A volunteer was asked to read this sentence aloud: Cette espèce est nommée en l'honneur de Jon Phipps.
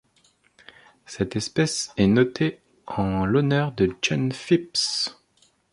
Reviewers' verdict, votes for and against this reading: rejected, 1, 2